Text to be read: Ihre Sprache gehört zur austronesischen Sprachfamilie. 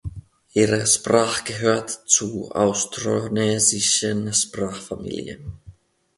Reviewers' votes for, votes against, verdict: 1, 2, rejected